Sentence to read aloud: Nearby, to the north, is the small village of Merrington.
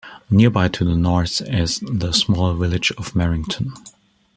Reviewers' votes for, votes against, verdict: 2, 0, accepted